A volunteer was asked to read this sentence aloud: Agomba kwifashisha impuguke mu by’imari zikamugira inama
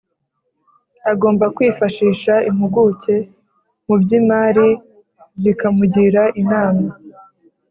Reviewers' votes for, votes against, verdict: 3, 0, accepted